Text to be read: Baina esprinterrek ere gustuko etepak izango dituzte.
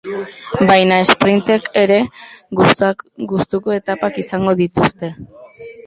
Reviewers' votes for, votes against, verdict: 0, 2, rejected